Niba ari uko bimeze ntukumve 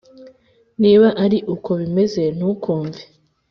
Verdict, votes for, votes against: accepted, 3, 0